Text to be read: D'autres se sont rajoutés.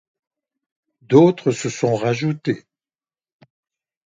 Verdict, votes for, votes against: accepted, 2, 0